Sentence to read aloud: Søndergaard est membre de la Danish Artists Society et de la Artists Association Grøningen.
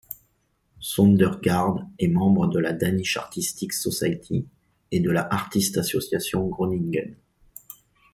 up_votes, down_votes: 1, 2